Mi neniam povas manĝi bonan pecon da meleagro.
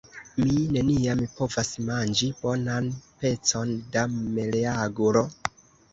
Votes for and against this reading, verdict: 1, 2, rejected